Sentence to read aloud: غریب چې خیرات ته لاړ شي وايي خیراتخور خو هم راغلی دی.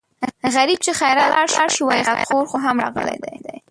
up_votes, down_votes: 0, 2